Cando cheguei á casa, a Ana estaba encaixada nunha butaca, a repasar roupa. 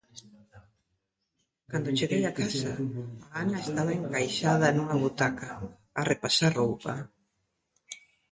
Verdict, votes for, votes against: rejected, 1, 2